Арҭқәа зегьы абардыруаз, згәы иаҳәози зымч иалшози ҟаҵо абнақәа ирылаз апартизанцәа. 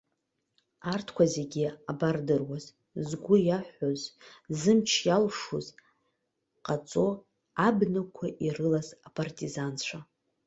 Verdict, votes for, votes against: rejected, 1, 2